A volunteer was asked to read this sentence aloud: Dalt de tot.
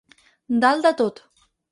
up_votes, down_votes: 4, 0